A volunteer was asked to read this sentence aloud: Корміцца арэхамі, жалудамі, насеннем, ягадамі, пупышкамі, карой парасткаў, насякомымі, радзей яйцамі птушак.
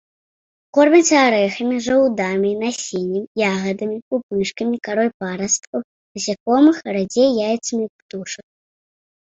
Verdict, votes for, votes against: rejected, 0, 2